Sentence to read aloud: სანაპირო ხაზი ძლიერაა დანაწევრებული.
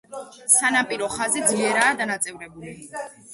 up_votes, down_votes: 1, 2